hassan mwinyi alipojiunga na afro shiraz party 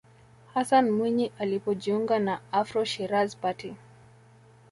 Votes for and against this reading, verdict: 2, 0, accepted